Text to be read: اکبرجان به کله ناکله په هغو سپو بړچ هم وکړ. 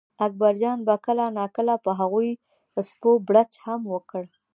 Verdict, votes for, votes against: accepted, 2, 0